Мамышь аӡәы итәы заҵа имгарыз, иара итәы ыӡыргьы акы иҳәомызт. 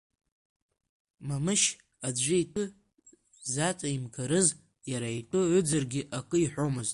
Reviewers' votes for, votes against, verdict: 1, 2, rejected